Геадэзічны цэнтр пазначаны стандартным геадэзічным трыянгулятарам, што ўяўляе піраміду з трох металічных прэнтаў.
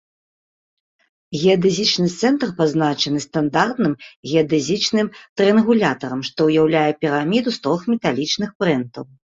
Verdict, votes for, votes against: accepted, 2, 0